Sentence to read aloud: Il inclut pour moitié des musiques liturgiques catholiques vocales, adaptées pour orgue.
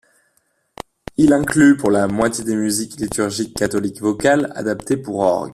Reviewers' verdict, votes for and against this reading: rejected, 1, 2